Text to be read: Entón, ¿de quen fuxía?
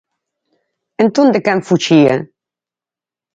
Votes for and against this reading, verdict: 4, 0, accepted